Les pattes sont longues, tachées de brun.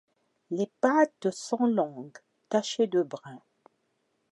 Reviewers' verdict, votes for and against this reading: accepted, 2, 0